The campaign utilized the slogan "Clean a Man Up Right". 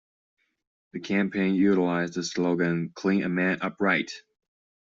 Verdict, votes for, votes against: accepted, 3, 0